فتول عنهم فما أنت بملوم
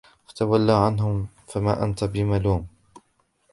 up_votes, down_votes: 2, 1